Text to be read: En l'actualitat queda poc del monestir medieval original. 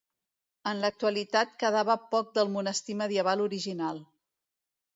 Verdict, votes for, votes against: rejected, 1, 2